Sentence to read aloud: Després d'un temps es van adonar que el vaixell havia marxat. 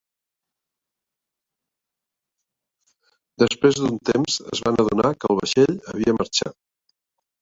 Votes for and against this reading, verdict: 2, 1, accepted